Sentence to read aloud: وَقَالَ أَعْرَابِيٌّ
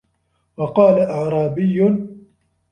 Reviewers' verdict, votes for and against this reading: rejected, 1, 2